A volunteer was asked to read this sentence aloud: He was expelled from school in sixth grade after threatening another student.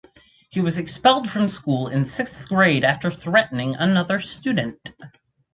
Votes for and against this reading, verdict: 2, 0, accepted